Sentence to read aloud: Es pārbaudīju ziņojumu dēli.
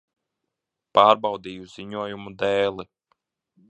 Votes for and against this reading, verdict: 0, 2, rejected